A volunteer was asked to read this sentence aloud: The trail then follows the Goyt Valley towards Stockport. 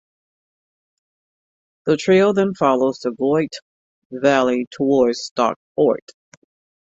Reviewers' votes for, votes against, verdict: 2, 0, accepted